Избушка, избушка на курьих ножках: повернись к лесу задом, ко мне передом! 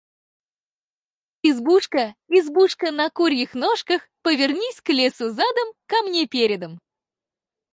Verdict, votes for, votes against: accepted, 4, 2